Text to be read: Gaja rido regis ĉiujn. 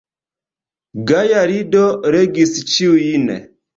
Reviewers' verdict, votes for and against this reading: accepted, 2, 0